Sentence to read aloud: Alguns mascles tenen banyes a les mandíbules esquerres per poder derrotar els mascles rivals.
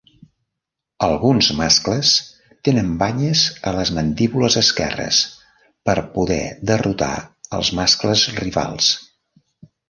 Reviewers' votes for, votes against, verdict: 2, 0, accepted